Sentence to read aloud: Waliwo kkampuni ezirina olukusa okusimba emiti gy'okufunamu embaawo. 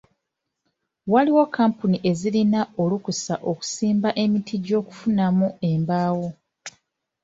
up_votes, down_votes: 3, 1